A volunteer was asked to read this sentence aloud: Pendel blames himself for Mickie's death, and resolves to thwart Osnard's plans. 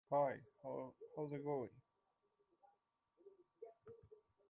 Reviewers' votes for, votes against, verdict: 0, 2, rejected